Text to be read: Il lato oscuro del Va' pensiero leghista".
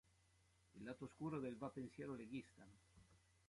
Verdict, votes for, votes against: rejected, 1, 2